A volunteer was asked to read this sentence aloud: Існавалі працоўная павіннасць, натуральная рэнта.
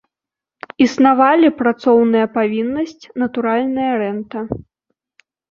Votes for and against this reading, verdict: 2, 0, accepted